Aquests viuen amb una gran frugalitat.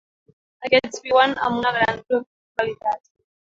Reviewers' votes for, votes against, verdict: 1, 2, rejected